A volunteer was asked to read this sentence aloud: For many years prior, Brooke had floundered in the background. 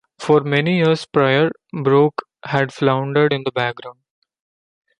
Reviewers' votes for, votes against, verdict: 2, 0, accepted